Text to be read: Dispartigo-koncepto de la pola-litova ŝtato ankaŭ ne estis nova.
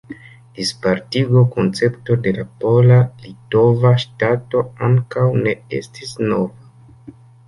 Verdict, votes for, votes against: rejected, 0, 2